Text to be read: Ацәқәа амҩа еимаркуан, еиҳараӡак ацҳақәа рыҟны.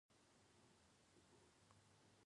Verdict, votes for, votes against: rejected, 0, 2